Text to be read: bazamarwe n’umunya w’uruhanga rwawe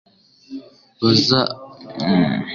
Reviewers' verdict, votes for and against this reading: rejected, 1, 2